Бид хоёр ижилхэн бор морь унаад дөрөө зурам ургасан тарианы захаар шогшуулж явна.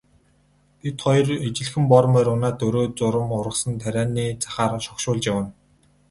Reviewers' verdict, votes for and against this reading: accepted, 2, 0